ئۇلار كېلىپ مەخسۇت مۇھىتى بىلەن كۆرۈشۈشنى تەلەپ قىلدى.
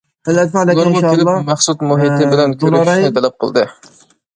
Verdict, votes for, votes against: rejected, 0, 2